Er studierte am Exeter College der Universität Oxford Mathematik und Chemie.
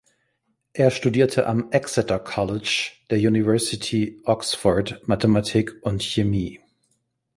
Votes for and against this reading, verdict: 1, 3, rejected